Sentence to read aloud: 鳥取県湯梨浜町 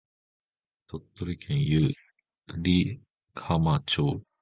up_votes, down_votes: 1, 2